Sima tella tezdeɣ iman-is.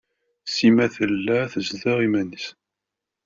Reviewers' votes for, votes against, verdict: 1, 2, rejected